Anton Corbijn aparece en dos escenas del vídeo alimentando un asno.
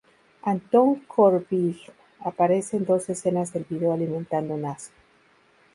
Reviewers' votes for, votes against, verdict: 2, 0, accepted